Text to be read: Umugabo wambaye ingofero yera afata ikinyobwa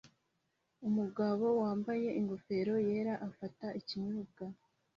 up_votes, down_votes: 2, 0